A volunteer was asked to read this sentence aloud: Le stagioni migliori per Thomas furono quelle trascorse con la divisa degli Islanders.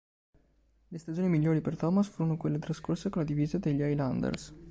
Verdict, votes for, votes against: accepted, 2, 0